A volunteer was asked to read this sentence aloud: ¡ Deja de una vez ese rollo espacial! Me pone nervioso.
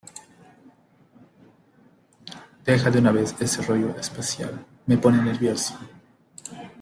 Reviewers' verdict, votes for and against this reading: accepted, 2, 0